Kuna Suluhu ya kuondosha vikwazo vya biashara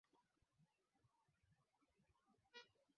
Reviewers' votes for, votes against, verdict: 0, 9, rejected